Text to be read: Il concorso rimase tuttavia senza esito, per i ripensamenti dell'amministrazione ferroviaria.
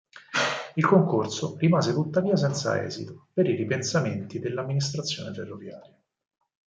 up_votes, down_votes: 6, 0